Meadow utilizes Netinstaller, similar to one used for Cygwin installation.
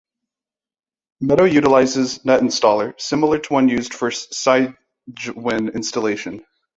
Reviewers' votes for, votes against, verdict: 2, 1, accepted